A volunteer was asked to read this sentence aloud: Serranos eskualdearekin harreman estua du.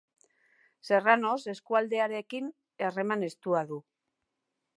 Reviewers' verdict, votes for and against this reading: accepted, 2, 0